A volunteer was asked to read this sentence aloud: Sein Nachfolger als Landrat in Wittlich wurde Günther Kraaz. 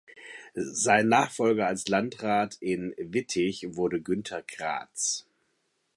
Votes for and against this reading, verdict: 0, 2, rejected